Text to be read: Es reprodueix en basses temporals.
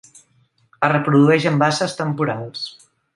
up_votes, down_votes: 2, 0